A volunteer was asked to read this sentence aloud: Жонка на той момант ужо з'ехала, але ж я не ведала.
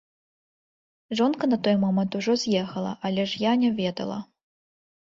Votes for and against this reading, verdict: 1, 3, rejected